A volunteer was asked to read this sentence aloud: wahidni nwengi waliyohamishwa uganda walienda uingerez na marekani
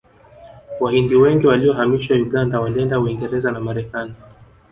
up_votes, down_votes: 1, 2